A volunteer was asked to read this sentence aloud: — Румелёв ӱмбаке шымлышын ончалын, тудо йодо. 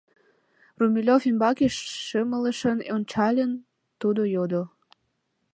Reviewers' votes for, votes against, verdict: 1, 2, rejected